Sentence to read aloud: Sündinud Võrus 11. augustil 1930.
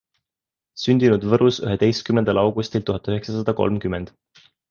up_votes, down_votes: 0, 2